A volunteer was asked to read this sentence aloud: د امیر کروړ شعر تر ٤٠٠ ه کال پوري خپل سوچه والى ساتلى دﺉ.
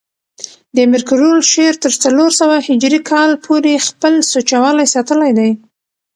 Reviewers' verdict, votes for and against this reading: rejected, 0, 2